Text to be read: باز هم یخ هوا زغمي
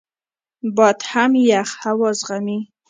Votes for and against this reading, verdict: 1, 2, rejected